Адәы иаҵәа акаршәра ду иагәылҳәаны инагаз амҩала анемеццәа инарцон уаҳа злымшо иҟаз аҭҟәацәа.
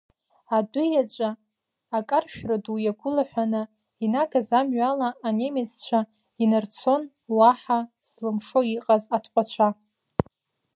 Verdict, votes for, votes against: rejected, 1, 2